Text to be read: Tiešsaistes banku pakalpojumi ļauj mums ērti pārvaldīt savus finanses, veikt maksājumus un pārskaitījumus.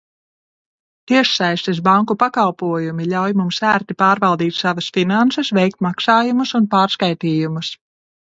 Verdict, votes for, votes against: rejected, 0, 2